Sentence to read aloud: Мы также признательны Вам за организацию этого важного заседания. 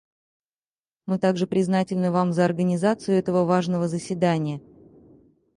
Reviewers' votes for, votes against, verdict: 0, 4, rejected